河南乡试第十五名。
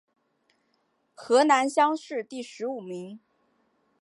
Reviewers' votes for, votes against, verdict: 2, 0, accepted